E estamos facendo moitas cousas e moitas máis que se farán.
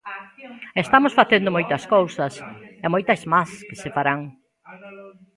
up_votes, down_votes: 0, 2